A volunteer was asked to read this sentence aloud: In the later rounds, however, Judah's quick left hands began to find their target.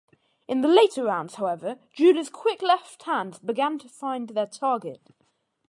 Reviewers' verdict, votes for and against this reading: accepted, 2, 0